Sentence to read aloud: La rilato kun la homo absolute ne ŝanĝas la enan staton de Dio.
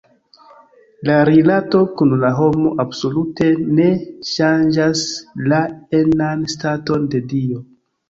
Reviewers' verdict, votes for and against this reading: accepted, 2, 0